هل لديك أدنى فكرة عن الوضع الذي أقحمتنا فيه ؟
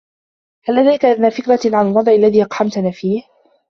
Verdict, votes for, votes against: accepted, 2, 0